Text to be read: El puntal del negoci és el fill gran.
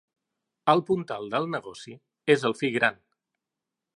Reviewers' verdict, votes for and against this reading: accepted, 2, 0